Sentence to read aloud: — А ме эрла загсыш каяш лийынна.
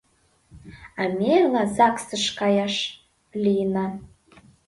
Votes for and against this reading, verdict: 2, 3, rejected